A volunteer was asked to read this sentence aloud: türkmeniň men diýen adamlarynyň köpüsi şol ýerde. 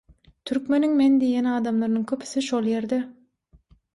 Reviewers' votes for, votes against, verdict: 6, 0, accepted